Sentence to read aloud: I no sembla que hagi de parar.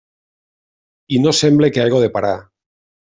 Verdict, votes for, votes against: rejected, 0, 2